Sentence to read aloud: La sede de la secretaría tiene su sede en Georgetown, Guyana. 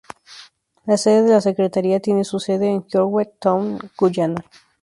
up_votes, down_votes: 2, 0